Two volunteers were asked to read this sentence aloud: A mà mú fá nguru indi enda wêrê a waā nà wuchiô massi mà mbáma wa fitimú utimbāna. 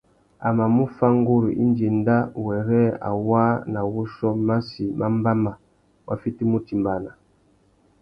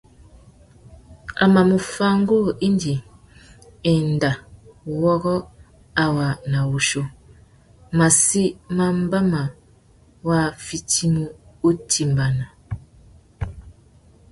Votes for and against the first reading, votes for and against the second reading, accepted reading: 2, 0, 1, 2, first